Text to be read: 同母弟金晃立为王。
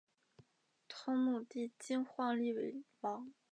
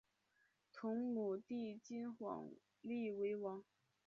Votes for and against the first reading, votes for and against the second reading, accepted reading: 5, 2, 1, 2, first